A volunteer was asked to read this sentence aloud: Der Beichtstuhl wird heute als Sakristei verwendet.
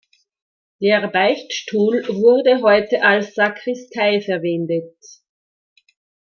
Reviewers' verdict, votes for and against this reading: rejected, 0, 2